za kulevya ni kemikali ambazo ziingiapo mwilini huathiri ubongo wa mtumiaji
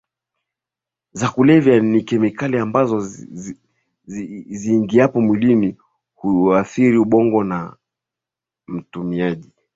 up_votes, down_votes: 3, 3